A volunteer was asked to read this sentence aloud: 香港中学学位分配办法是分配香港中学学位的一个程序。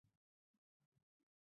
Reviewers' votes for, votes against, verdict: 0, 6, rejected